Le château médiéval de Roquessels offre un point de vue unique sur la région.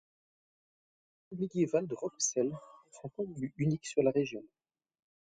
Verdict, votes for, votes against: rejected, 0, 4